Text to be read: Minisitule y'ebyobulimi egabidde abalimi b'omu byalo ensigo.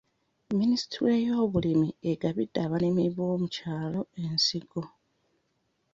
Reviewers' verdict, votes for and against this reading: rejected, 1, 2